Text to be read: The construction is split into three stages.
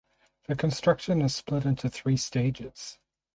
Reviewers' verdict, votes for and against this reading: rejected, 2, 4